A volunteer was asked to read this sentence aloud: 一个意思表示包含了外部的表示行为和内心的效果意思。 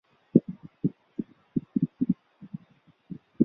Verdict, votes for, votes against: rejected, 2, 4